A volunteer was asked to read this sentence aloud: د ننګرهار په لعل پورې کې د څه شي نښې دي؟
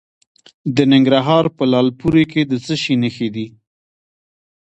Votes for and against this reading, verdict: 1, 2, rejected